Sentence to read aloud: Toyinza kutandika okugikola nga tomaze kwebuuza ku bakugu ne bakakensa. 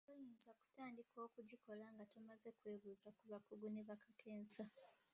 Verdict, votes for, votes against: rejected, 0, 2